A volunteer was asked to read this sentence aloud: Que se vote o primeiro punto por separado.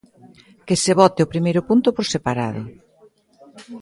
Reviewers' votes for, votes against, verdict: 2, 0, accepted